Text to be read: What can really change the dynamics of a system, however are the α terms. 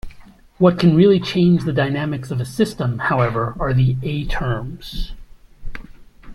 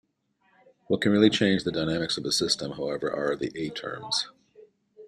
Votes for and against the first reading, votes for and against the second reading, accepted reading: 0, 2, 2, 1, second